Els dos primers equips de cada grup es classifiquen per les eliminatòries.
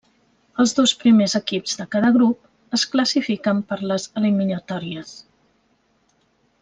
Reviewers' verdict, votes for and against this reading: accepted, 3, 1